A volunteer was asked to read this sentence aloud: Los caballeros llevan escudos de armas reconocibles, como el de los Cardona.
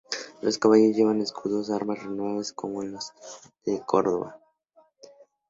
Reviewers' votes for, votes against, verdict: 0, 2, rejected